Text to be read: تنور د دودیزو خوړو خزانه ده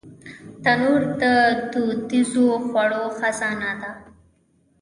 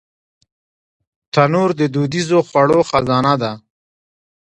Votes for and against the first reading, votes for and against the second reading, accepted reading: 1, 2, 2, 1, second